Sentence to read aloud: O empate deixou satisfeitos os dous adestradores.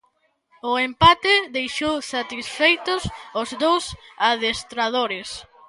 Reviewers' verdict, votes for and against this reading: accepted, 2, 0